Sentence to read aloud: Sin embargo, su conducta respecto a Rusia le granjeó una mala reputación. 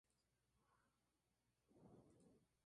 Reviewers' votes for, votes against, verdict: 0, 2, rejected